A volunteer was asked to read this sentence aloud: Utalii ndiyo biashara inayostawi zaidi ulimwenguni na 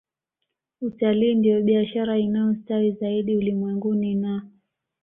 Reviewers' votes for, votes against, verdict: 2, 0, accepted